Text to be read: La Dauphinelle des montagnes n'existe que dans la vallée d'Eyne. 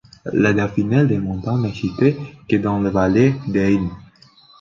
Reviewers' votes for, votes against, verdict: 0, 2, rejected